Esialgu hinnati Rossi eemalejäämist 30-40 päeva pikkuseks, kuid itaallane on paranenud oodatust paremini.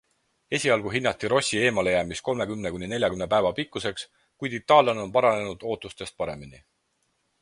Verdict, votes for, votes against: rejected, 0, 2